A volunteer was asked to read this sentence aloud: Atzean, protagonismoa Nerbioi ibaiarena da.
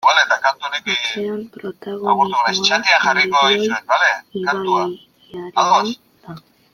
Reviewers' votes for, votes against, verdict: 0, 2, rejected